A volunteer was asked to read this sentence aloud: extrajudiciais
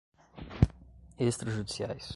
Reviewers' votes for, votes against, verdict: 2, 0, accepted